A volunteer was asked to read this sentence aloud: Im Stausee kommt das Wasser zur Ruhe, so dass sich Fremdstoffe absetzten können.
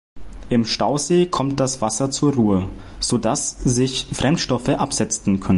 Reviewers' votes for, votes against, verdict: 0, 3, rejected